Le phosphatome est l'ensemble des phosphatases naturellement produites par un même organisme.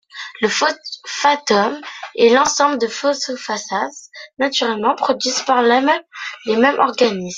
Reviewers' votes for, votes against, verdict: 0, 2, rejected